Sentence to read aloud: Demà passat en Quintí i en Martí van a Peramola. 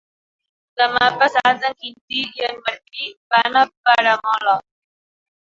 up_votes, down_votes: 2, 1